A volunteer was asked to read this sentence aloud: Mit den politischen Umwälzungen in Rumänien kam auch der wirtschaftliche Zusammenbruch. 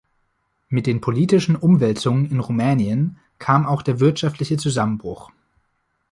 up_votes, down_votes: 1, 2